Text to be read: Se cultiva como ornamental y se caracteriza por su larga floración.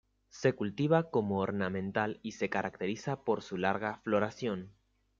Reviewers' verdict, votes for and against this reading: accepted, 2, 0